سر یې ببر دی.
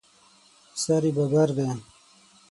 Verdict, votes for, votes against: accepted, 6, 3